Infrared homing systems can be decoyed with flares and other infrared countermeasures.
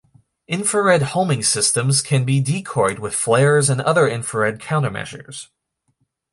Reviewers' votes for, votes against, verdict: 2, 0, accepted